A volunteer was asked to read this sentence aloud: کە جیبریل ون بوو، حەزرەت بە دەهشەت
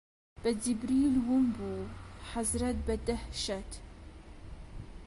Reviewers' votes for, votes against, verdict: 2, 0, accepted